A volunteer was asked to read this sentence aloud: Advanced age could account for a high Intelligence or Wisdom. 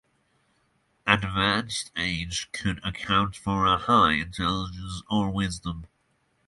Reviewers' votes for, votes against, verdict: 6, 0, accepted